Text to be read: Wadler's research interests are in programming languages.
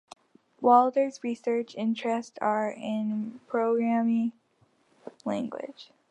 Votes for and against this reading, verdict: 2, 0, accepted